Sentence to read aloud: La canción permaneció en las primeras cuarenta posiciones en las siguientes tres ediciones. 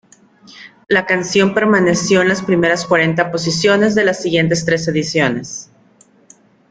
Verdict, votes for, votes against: rejected, 1, 2